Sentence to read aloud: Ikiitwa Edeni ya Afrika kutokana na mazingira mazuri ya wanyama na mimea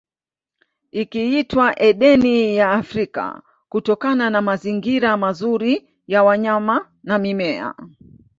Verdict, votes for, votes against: accepted, 2, 1